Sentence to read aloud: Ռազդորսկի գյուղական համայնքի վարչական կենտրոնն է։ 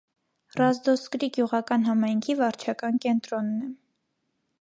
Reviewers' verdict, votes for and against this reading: accepted, 2, 0